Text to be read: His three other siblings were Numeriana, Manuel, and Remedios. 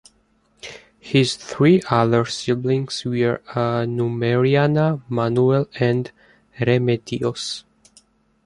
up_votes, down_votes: 1, 2